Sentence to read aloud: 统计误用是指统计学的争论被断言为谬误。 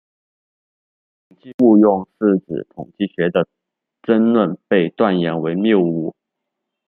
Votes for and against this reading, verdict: 2, 1, accepted